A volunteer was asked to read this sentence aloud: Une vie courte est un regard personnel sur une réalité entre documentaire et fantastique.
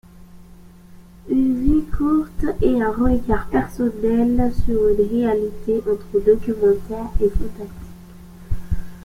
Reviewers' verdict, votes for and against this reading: rejected, 0, 2